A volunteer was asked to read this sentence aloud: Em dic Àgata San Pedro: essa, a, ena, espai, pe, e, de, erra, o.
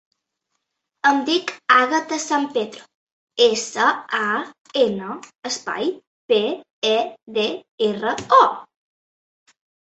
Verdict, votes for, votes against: rejected, 0, 2